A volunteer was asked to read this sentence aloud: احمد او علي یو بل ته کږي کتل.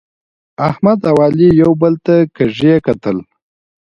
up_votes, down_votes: 2, 1